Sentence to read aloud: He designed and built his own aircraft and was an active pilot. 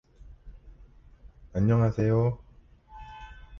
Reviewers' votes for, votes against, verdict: 0, 2, rejected